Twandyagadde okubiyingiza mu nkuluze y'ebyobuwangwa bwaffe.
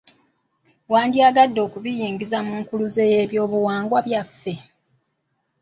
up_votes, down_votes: 0, 2